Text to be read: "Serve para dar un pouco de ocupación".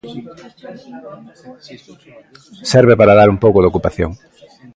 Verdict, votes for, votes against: rejected, 1, 2